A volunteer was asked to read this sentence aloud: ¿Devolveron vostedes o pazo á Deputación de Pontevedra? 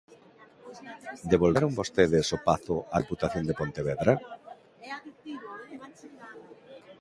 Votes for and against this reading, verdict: 1, 2, rejected